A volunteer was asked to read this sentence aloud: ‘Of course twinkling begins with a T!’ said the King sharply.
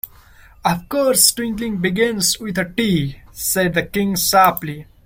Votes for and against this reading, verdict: 1, 2, rejected